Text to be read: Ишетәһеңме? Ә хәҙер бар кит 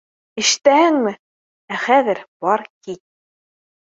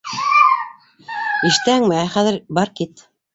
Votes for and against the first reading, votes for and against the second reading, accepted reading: 2, 0, 1, 2, first